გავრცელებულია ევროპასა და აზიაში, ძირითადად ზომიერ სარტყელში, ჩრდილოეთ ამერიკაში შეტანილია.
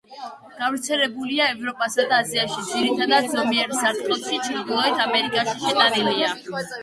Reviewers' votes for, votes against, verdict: 0, 2, rejected